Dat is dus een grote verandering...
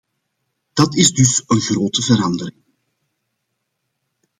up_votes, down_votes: 1, 2